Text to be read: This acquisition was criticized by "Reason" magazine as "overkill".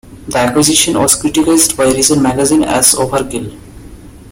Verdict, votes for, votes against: accepted, 2, 0